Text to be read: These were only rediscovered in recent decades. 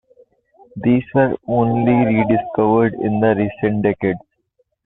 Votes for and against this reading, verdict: 2, 1, accepted